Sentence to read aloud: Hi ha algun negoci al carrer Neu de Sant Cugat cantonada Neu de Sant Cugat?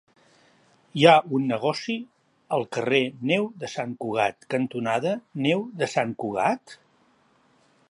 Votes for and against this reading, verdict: 0, 2, rejected